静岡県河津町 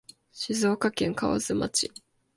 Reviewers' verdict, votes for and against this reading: accepted, 2, 0